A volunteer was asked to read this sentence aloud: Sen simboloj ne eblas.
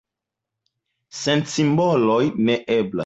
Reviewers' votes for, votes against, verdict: 1, 2, rejected